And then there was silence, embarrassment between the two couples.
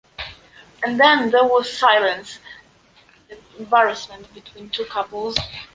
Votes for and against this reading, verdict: 2, 1, accepted